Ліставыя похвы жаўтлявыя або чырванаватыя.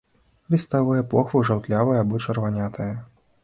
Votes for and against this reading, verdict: 0, 2, rejected